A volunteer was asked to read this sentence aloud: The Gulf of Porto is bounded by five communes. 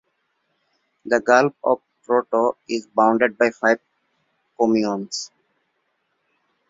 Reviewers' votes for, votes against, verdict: 2, 1, accepted